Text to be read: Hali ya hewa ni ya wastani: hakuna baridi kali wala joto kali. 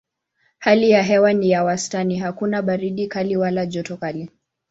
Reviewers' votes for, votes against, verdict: 2, 0, accepted